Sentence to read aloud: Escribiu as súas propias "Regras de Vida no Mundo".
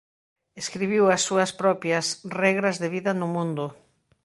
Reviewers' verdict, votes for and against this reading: accepted, 2, 0